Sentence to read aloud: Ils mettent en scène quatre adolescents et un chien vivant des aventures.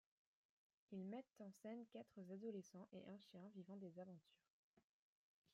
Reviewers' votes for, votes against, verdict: 0, 2, rejected